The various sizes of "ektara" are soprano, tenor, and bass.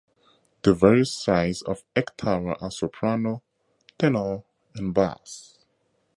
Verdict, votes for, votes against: rejected, 0, 2